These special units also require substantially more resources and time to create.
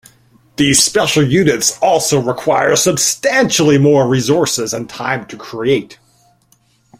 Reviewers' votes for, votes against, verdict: 3, 1, accepted